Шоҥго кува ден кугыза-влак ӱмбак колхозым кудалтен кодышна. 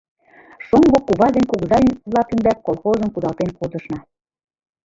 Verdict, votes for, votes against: rejected, 0, 2